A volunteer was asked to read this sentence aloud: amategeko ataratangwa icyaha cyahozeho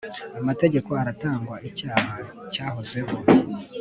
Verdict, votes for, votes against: accepted, 2, 0